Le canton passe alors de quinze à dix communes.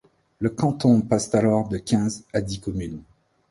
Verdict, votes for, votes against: rejected, 0, 2